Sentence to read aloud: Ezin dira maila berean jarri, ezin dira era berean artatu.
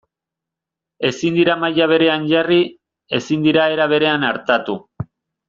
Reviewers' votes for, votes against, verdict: 2, 0, accepted